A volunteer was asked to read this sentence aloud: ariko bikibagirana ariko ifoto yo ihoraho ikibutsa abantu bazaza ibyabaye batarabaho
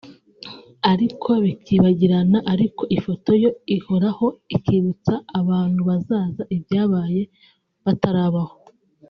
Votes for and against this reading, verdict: 3, 0, accepted